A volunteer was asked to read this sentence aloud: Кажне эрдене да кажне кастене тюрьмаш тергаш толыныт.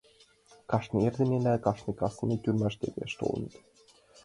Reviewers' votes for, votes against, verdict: 2, 1, accepted